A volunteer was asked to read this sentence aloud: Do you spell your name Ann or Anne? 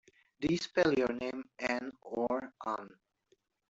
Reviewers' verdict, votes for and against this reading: rejected, 0, 2